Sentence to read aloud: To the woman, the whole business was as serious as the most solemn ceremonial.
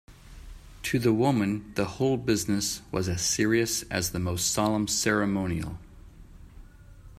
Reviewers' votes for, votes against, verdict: 2, 0, accepted